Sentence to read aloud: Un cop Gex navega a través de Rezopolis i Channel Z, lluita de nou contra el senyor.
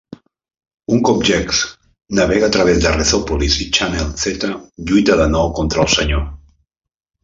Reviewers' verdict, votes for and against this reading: rejected, 0, 2